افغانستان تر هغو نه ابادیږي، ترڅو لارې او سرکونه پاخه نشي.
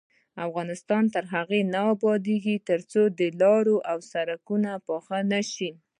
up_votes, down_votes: 2, 0